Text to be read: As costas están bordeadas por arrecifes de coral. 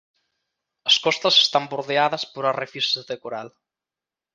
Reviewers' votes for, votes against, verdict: 2, 1, accepted